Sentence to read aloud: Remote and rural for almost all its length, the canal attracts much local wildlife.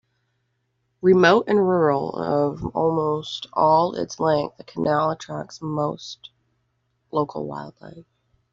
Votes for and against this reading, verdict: 0, 2, rejected